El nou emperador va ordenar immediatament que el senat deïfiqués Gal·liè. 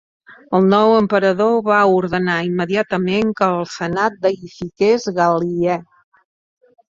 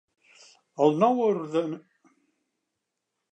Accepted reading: first